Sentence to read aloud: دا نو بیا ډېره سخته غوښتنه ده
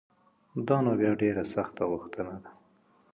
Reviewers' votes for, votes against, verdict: 3, 0, accepted